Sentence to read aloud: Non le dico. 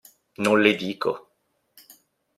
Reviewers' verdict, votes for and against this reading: accepted, 2, 0